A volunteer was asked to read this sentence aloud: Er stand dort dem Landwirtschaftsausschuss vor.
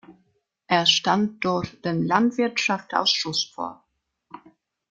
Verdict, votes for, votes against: rejected, 0, 2